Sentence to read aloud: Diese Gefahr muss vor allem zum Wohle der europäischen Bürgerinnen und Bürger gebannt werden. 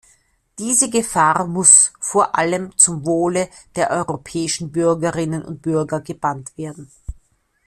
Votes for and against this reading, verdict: 2, 0, accepted